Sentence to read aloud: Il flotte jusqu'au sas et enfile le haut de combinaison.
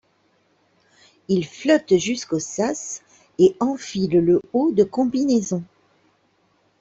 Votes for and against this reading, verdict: 2, 0, accepted